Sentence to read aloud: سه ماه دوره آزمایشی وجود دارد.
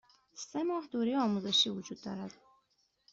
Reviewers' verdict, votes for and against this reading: accepted, 2, 1